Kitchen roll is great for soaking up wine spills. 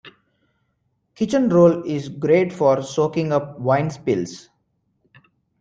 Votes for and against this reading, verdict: 2, 0, accepted